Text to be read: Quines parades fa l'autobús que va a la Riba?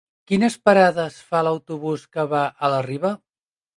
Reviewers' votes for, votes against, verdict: 4, 0, accepted